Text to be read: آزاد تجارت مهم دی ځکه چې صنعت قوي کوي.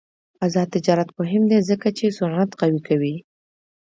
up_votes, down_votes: 2, 0